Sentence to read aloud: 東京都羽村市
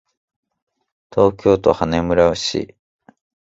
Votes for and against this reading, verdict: 1, 2, rejected